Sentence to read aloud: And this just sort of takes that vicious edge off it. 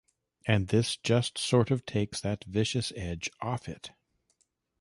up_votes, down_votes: 2, 0